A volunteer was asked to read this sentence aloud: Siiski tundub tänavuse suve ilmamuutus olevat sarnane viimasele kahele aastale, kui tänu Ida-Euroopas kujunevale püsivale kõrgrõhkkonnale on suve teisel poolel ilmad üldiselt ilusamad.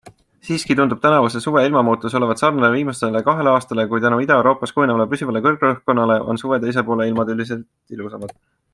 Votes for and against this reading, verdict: 3, 0, accepted